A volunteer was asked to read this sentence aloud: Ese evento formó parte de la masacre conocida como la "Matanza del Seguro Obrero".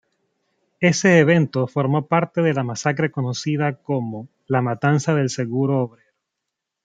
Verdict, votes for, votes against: rejected, 0, 2